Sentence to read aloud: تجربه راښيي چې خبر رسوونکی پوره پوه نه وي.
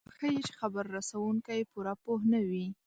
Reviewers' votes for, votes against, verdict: 1, 3, rejected